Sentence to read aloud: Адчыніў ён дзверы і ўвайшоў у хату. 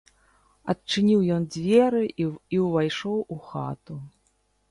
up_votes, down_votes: 0, 2